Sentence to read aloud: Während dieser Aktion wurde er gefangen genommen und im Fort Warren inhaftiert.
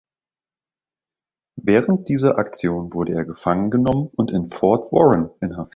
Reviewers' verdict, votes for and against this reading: rejected, 0, 2